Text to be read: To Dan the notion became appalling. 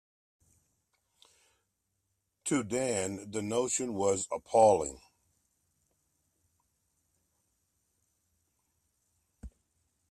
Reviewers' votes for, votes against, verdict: 0, 2, rejected